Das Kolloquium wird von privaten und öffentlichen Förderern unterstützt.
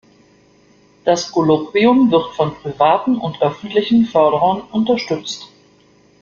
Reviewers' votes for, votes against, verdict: 2, 0, accepted